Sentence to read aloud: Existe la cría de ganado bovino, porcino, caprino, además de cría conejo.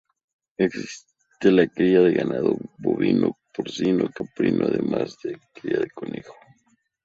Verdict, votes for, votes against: rejected, 0, 4